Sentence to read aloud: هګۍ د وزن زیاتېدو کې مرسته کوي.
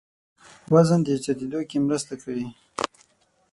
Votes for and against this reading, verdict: 3, 6, rejected